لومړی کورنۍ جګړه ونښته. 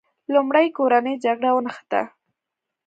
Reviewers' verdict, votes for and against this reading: accepted, 2, 0